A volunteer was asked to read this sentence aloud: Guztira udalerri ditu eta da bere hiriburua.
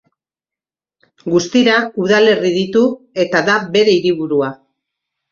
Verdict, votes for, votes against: rejected, 1, 2